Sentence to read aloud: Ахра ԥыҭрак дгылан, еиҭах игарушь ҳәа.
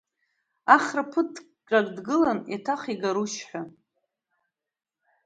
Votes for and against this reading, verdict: 1, 2, rejected